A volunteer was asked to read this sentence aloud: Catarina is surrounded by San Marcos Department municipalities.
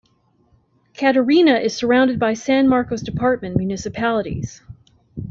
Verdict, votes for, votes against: accepted, 2, 0